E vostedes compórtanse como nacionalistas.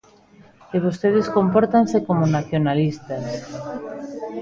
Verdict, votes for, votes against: accepted, 2, 0